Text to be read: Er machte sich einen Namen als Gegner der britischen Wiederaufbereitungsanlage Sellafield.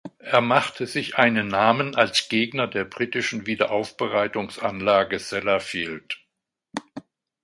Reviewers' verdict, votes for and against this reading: accepted, 2, 0